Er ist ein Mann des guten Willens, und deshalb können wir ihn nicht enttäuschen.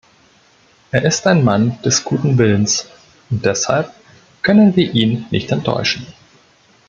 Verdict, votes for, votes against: accepted, 2, 0